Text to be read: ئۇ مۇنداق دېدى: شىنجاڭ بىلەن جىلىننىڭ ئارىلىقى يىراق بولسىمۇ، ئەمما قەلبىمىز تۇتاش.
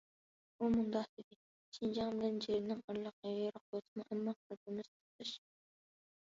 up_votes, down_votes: 1, 2